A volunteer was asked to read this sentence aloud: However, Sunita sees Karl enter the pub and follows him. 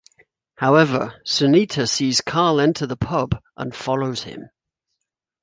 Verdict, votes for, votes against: accepted, 2, 0